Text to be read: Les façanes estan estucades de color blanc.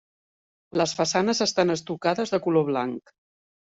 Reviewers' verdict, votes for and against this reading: accepted, 3, 0